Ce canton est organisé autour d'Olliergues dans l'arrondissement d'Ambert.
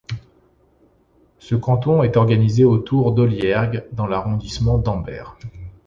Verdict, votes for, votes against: accepted, 2, 0